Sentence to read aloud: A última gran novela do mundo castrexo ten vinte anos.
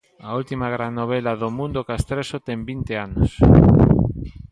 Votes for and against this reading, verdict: 2, 0, accepted